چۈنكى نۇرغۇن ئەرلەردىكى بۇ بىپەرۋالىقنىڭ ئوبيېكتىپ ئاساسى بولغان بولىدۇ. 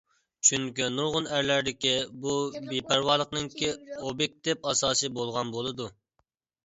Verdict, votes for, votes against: rejected, 0, 2